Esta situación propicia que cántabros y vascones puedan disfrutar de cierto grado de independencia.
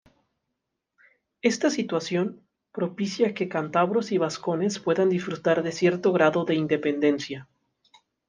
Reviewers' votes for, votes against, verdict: 2, 0, accepted